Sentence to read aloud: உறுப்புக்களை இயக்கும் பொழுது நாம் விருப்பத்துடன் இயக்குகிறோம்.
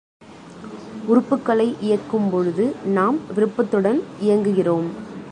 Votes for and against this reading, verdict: 2, 1, accepted